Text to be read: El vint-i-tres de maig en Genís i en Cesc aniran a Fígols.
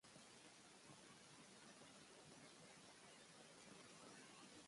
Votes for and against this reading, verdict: 0, 4, rejected